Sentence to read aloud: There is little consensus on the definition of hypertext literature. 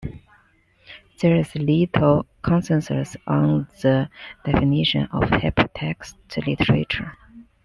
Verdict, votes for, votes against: accepted, 2, 0